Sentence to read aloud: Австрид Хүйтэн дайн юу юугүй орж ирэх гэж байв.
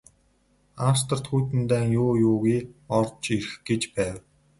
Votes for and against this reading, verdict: 2, 0, accepted